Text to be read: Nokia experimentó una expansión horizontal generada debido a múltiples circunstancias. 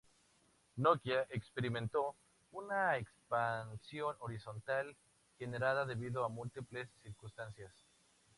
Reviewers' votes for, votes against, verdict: 2, 0, accepted